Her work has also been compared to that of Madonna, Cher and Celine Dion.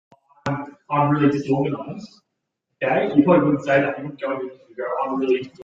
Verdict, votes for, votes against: rejected, 0, 2